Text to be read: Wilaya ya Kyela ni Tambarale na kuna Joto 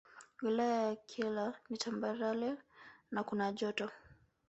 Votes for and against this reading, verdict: 1, 2, rejected